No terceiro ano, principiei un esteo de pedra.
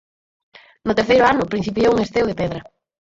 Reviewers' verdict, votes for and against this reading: rejected, 0, 4